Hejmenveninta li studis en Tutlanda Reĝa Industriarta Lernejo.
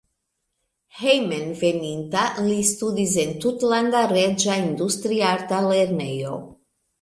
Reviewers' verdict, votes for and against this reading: accepted, 2, 0